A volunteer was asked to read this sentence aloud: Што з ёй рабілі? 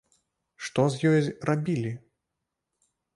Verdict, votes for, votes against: rejected, 0, 2